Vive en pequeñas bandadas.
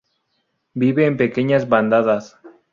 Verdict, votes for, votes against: accepted, 2, 0